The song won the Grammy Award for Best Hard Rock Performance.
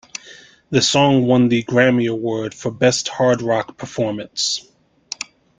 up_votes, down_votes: 2, 0